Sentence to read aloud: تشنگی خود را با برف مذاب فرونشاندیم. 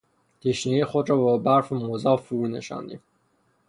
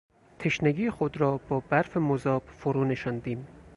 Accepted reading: second